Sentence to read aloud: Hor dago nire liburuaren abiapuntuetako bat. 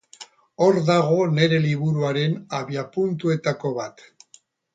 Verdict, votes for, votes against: rejected, 0, 2